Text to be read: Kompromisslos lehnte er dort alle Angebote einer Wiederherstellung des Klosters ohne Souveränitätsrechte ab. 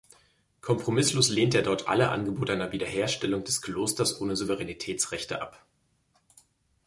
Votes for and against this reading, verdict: 2, 0, accepted